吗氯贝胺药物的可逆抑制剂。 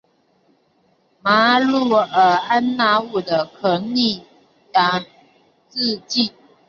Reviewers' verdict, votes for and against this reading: rejected, 0, 4